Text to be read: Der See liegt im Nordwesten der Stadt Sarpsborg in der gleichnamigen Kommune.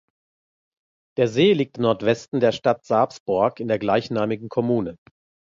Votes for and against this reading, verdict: 1, 2, rejected